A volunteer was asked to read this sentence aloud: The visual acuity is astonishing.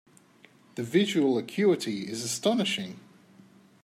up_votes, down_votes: 2, 0